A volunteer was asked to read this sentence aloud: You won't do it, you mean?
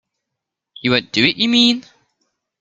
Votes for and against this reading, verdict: 1, 2, rejected